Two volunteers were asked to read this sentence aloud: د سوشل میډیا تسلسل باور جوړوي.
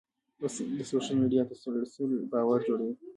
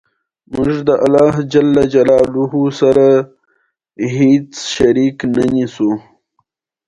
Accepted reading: second